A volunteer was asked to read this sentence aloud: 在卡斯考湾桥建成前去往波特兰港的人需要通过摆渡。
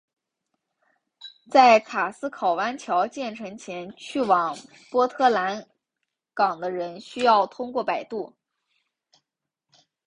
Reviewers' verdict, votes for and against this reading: accepted, 4, 0